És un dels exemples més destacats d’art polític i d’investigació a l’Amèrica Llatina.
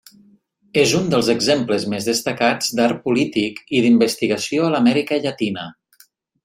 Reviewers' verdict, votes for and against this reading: accepted, 3, 0